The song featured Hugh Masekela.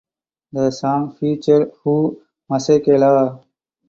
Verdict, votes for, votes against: rejected, 2, 4